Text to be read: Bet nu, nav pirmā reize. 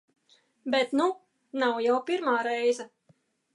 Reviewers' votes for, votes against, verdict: 0, 2, rejected